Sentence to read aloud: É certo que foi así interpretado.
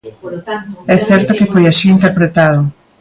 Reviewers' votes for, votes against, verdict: 1, 2, rejected